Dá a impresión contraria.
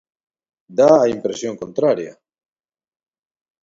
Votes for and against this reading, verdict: 2, 0, accepted